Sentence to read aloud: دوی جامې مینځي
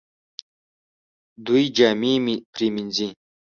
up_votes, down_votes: 0, 2